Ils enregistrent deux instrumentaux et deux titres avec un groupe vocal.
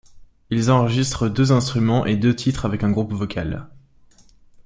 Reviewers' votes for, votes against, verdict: 0, 2, rejected